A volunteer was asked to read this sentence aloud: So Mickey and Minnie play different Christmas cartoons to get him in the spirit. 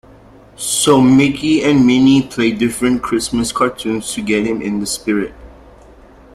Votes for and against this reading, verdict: 2, 0, accepted